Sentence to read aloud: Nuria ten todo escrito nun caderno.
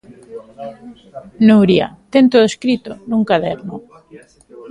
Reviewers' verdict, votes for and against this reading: rejected, 1, 2